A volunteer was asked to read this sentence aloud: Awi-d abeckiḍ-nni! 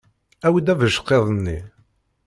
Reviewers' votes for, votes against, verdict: 1, 2, rejected